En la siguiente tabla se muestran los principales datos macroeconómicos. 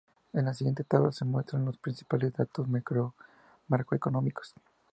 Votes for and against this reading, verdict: 0, 2, rejected